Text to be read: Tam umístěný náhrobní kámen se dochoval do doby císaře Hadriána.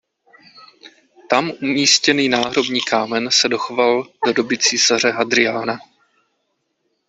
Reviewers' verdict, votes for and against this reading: accepted, 2, 0